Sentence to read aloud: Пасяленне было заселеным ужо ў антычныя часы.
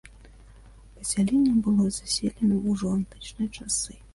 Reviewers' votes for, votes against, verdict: 1, 2, rejected